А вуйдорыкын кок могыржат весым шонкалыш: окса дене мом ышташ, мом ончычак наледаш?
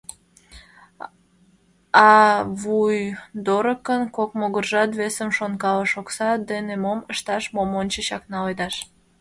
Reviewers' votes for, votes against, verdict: 1, 2, rejected